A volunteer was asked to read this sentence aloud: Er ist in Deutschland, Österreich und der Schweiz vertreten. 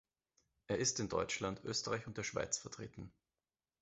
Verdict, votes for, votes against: accepted, 2, 0